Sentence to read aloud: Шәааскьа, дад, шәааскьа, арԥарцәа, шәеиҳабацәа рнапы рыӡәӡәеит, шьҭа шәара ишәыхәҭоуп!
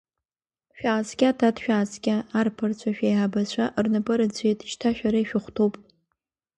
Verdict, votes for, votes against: accepted, 2, 0